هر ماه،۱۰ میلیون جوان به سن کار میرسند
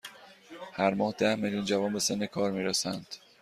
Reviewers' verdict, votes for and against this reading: rejected, 0, 2